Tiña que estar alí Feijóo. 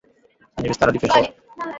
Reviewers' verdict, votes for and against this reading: rejected, 0, 2